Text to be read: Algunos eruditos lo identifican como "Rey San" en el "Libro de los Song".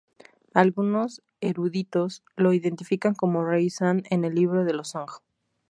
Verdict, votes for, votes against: accepted, 2, 0